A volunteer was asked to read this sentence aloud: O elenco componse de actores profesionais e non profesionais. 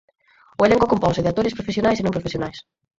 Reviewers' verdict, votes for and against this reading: rejected, 0, 4